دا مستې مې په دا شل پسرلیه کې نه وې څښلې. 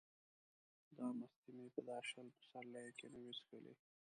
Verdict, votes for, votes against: rejected, 0, 2